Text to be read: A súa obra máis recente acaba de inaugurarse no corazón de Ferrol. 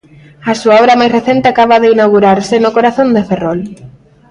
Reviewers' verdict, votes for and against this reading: accepted, 2, 0